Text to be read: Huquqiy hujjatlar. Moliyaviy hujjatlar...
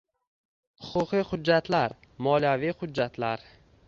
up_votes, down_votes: 2, 0